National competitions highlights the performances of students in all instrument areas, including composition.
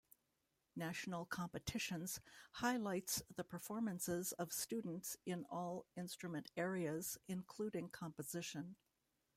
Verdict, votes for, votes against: rejected, 2, 3